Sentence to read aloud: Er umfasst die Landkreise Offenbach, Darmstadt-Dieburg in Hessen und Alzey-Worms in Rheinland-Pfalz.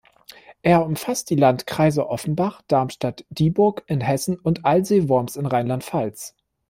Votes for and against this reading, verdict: 1, 2, rejected